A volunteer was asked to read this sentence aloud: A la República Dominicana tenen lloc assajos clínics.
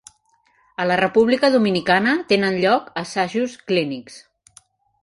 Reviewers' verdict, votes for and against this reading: accepted, 4, 0